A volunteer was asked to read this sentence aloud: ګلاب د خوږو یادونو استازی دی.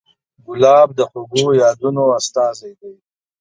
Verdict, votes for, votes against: accepted, 2, 0